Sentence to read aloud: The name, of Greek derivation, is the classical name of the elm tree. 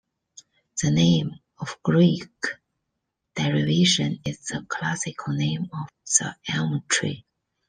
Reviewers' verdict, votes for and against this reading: accepted, 2, 1